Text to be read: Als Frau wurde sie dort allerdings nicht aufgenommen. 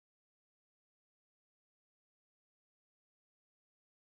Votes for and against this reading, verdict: 0, 2, rejected